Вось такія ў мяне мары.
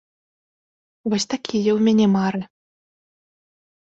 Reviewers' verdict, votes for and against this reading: accepted, 2, 0